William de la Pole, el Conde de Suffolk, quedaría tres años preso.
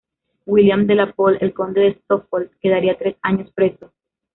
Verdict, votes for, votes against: rejected, 1, 2